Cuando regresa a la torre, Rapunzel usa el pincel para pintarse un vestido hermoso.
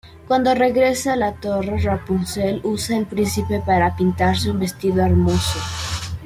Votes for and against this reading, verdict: 1, 2, rejected